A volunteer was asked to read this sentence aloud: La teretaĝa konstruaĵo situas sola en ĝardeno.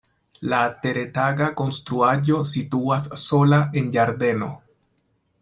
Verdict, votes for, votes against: rejected, 1, 2